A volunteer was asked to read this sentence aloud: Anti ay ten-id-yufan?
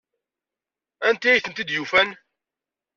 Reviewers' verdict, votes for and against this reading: rejected, 0, 2